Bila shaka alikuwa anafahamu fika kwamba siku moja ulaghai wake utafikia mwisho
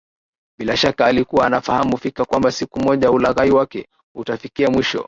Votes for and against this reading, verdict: 2, 1, accepted